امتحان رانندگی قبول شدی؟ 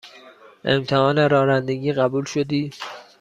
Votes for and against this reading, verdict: 2, 0, accepted